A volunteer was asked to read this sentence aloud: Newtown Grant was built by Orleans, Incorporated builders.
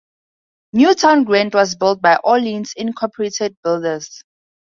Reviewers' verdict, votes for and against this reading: accepted, 4, 0